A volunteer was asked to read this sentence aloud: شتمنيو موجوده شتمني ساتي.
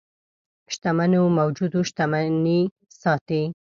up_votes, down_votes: 5, 6